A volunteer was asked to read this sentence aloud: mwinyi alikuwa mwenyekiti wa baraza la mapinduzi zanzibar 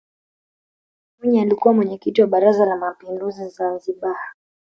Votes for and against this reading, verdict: 2, 0, accepted